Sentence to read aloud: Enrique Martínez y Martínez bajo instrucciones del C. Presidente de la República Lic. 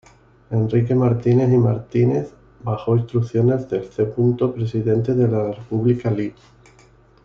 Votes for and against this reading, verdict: 1, 2, rejected